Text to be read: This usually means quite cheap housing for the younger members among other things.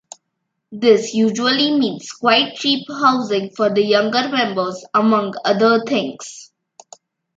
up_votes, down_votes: 3, 0